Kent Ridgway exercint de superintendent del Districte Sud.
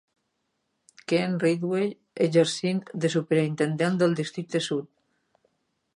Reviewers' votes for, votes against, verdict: 4, 0, accepted